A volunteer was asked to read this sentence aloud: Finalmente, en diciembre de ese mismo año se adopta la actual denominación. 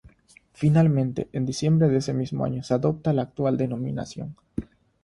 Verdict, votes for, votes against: accepted, 3, 0